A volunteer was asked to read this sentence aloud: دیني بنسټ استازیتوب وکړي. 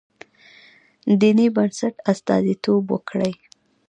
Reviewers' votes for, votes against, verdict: 1, 2, rejected